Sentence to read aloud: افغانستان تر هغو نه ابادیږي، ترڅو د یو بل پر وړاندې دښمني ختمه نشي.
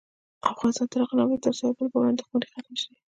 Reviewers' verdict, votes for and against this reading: rejected, 1, 2